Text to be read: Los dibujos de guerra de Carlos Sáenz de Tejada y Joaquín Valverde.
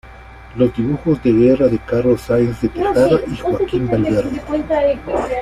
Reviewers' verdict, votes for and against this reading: rejected, 0, 2